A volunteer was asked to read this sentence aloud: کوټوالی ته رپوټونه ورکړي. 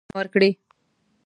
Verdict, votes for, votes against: rejected, 1, 2